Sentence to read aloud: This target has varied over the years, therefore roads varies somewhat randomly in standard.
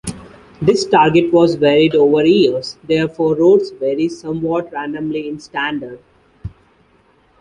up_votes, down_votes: 0, 2